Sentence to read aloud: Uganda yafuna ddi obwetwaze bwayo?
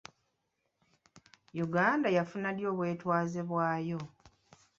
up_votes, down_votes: 0, 2